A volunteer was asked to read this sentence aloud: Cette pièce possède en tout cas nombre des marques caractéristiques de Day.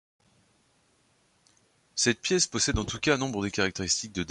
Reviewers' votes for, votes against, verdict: 0, 2, rejected